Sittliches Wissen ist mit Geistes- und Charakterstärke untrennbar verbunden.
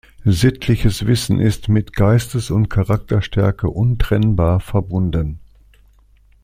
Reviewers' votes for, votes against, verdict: 2, 0, accepted